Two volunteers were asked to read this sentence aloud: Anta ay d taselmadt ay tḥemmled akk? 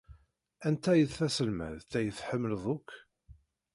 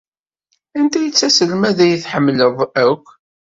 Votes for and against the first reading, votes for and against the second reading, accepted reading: 2, 1, 1, 2, first